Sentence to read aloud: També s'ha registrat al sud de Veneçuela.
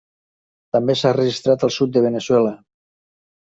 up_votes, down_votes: 3, 1